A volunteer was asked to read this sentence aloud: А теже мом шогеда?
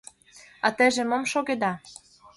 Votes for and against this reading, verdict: 2, 0, accepted